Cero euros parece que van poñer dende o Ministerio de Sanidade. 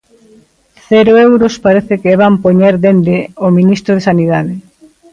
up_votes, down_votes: 0, 2